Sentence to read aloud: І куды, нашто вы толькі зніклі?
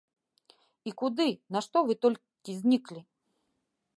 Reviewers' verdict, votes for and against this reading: rejected, 0, 2